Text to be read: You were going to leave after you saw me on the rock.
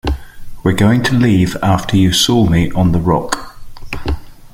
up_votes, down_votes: 2, 0